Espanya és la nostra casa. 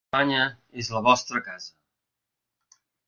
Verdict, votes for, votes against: rejected, 0, 2